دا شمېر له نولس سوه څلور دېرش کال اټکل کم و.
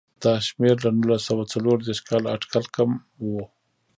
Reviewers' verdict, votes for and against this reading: rejected, 1, 2